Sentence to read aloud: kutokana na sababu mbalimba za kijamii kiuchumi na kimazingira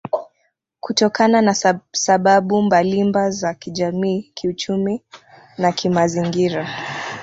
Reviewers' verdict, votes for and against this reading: rejected, 1, 2